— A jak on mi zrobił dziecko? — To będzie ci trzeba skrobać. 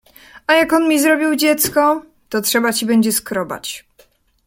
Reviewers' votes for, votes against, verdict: 2, 1, accepted